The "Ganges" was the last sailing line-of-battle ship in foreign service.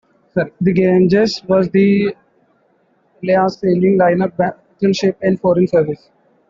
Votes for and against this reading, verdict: 0, 2, rejected